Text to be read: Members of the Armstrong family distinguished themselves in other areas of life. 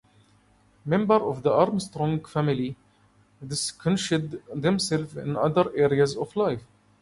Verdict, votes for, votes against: rejected, 1, 2